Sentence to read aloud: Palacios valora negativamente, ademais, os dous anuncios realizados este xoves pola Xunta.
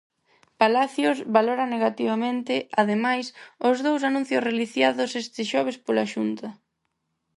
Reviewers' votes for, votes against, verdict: 0, 4, rejected